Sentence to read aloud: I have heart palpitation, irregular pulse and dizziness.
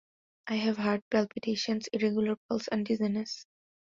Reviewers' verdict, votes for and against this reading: accepted, 2, 1